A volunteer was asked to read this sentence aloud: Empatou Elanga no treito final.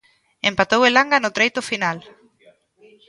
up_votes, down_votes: 0, 2